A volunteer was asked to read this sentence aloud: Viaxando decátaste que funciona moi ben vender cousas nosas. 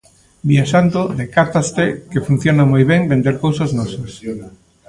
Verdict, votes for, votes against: rejected, 0, 2